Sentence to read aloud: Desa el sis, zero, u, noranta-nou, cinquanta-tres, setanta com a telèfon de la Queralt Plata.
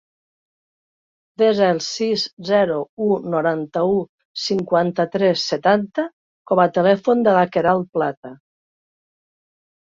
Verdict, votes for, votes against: rejected, 0, 3